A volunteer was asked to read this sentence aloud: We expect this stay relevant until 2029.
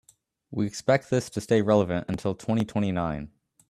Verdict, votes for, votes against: rejected, 0, 2